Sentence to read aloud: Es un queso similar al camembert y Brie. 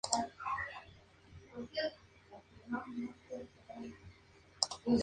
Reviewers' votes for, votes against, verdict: 0, 2, rejected